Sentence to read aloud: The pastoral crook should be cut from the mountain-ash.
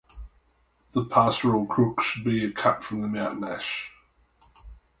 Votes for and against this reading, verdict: 2, 0, accepted